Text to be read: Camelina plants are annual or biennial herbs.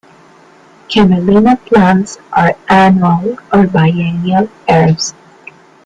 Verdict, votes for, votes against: accepted, 2, 1